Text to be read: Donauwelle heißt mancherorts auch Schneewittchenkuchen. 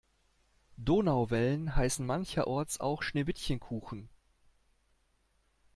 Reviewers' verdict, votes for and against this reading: rejected, 0, 2